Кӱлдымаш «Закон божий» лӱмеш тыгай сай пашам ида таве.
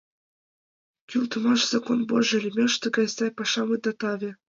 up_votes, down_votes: 2, 1